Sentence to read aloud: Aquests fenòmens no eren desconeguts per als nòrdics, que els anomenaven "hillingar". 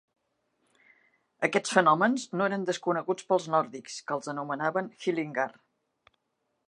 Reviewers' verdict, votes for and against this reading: rejected, 0, 2